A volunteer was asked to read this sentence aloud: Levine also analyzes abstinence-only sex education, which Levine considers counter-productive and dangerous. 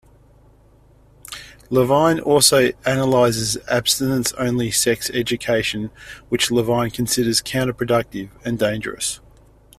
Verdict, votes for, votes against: accepted, 2, 0